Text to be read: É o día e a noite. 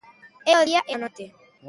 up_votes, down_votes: 0, 2